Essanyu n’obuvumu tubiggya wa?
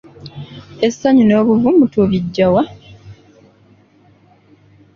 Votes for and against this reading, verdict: 2, 0, accepted